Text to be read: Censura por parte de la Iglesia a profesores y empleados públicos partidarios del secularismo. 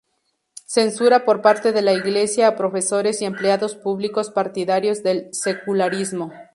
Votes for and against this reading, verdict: 0, 2, rejected